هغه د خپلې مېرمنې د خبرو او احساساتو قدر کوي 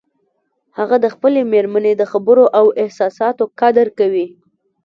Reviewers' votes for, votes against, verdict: 0, 2, rejected